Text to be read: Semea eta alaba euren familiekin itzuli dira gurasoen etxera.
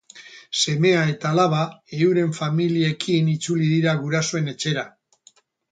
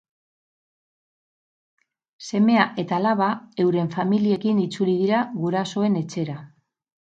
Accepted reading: first